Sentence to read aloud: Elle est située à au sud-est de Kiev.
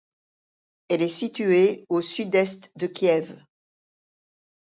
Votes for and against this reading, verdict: 0, 2, rejected